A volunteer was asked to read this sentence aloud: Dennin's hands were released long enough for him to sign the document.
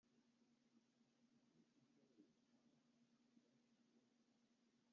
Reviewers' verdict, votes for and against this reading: rejected, 0, 2